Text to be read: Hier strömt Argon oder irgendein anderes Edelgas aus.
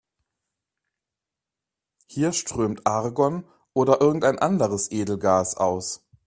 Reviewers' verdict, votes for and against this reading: accepted, 2, 0